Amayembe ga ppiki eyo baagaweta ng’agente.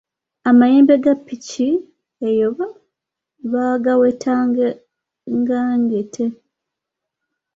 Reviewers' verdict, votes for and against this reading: rejected, 1, 2